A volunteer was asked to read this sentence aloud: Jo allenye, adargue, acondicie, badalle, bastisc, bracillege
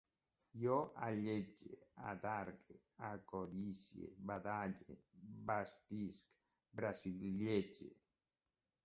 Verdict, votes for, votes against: rejected, 1, 2